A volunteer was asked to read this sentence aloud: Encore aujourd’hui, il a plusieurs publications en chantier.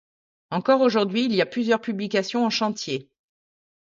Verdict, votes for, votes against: rejected, 1, 2